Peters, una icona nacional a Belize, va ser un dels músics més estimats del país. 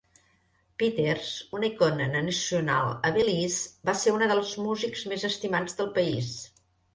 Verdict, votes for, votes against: rejected, 0, 2